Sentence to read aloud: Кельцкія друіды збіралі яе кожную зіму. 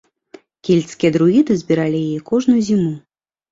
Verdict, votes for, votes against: rejected, 0, 2